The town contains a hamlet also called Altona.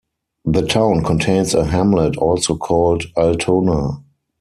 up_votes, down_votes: 4, 0